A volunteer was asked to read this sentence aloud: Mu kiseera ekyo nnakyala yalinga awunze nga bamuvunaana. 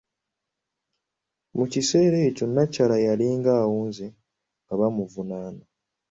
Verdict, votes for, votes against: accepted, 2, 0